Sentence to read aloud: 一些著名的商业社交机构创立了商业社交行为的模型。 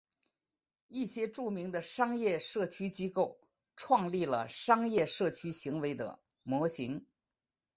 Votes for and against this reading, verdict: 4, 2, accepted